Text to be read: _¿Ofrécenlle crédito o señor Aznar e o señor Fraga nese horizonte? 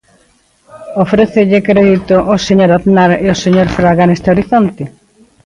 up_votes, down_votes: 0, 2